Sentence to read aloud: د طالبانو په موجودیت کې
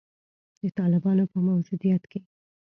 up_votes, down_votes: 3, 0